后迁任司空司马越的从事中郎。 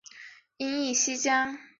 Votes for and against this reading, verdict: 0, 2, rejected